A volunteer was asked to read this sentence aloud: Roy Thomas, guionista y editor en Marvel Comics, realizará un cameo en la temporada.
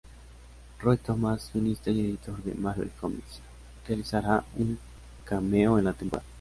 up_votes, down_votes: 0, 2